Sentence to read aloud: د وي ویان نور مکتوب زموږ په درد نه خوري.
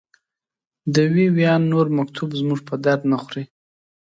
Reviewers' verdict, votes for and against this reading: accepted, 2, 0